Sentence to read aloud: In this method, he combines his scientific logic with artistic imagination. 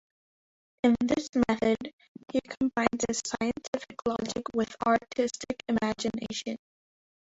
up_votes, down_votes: 0, 2